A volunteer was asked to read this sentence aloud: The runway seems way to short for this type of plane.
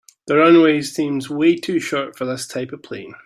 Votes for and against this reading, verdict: 2, 0, accepted